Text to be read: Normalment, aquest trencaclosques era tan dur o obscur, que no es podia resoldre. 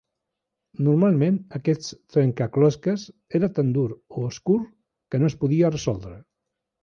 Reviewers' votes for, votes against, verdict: 1, 3, rejected